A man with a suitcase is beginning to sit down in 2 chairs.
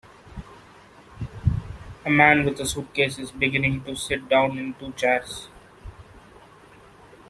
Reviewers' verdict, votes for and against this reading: rejected, 0, 2